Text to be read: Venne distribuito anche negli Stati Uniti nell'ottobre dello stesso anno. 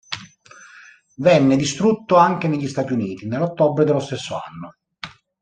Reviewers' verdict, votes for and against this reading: rejected, 0, 2